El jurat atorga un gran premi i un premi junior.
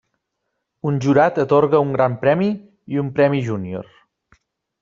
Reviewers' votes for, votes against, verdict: 0, 2, rejected